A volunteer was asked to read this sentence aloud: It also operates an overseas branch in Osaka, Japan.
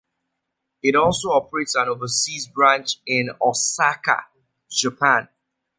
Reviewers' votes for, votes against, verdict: 2, 0, accepted